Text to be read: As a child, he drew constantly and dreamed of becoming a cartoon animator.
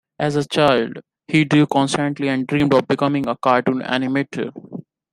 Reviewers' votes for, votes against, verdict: 2, 0, accepted